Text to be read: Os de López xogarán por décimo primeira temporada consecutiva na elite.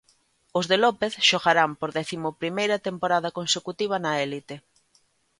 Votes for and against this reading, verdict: 1, 2, rejected